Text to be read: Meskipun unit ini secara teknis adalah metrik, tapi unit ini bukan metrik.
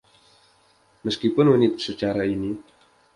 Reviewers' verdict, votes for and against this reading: rejected, 0, 2